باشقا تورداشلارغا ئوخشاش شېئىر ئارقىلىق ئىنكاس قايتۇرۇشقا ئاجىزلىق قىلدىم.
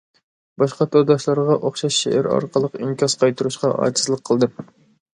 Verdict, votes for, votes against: accepted, 2, 0